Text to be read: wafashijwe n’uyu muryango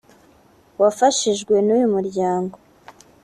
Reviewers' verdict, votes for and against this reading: accepted, 3, 0